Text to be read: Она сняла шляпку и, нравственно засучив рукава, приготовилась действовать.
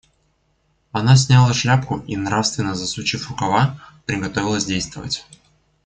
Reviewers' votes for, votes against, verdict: 2, 1, accepted